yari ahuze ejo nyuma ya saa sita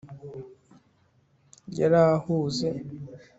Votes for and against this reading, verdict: 1, 2, rejected